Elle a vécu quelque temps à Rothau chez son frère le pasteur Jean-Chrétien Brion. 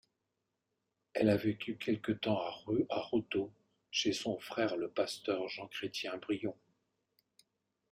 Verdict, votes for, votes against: rejected, 0, 2